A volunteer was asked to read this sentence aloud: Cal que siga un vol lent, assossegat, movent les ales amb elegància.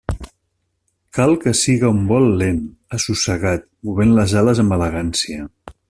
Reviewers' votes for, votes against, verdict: 2, 0, accepted